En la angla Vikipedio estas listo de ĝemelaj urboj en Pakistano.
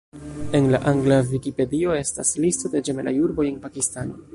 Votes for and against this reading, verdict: 1, 2, rejected